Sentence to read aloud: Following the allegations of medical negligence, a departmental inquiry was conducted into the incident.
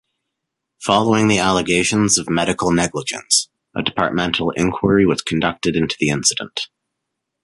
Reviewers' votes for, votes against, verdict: 2, 1, accepted